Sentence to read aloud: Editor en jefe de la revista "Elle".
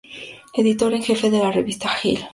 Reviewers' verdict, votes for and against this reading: rejected, 0, 2